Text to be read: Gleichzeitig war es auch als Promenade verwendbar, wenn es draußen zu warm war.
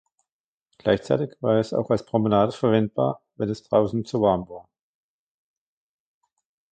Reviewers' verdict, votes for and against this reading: rejected, 1, 2